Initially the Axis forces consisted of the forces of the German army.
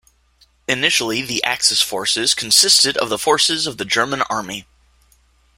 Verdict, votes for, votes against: accepted, 2, 0